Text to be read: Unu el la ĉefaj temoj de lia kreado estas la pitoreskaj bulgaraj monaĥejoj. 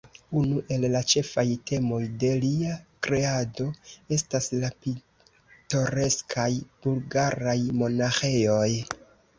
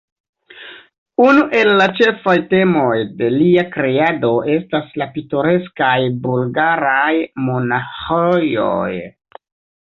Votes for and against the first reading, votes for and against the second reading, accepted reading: 2, 0, 0, 2, first